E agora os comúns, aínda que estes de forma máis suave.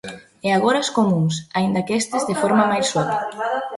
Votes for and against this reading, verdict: 0, 3, rejected